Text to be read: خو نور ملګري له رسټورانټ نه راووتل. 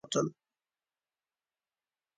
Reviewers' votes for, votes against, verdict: 0, 2, rejected